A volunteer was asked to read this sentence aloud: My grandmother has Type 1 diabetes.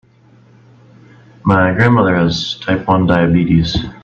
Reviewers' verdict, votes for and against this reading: rejected, 0, 2